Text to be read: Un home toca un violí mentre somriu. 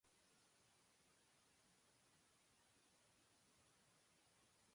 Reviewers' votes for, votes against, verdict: 0, 2, rejected